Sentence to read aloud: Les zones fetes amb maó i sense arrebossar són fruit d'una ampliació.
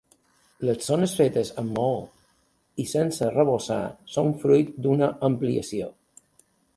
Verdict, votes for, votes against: accepted, 2, 0